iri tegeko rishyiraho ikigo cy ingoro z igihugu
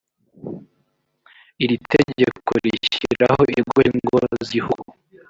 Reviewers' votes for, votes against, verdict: 0, 2, rejected